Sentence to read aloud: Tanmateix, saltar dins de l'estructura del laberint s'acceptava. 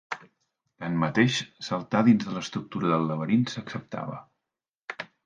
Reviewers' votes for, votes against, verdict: 3, 0, accepted